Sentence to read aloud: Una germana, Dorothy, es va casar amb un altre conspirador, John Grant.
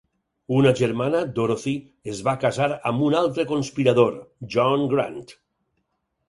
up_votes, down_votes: 4, 0